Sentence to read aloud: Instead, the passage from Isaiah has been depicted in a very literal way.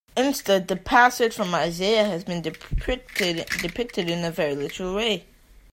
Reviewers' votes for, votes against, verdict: 0, 3, rejected